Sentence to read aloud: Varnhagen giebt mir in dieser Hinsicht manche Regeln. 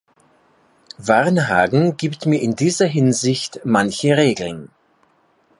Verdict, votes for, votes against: accepted, 2, 0